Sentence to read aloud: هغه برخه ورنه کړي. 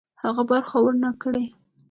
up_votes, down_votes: 2, 0